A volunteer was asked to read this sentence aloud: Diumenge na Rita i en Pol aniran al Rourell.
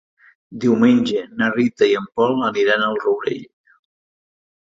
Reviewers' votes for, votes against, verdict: 2, 0, accepted